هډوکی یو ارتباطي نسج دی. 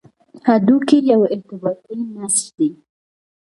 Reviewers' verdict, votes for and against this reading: accepted, 2, 0